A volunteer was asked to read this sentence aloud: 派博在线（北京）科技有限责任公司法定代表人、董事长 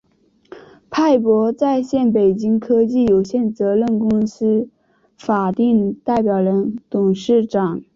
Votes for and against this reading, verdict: 2, 1, accepted